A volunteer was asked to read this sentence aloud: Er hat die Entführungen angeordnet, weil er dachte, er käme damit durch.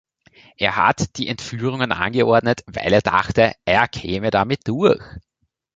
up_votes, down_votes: 1, 2